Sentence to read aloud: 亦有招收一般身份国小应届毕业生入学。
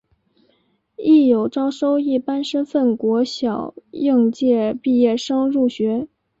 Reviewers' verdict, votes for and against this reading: accepted, 2, 1